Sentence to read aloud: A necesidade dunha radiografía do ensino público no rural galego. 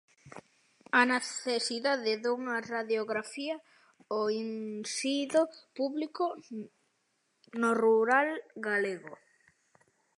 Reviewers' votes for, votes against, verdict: 0, 2, rejected